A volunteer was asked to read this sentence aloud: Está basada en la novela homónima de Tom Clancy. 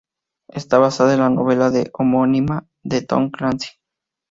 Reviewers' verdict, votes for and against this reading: rejected, 0, 2